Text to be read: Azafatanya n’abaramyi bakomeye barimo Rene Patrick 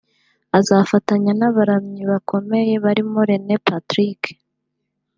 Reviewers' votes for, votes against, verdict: 2, 1, accepted